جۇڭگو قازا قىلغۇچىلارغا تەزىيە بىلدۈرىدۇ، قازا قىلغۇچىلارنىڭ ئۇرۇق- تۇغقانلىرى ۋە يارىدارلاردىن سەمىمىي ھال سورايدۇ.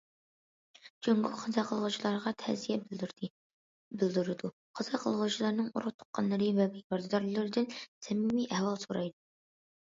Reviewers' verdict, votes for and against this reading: rejected, 0, 2